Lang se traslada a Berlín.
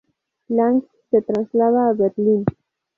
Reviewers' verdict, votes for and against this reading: rejected, 2, 2